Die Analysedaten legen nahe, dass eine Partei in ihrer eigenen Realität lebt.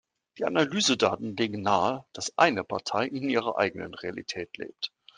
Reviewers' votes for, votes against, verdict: 2, 0, accepted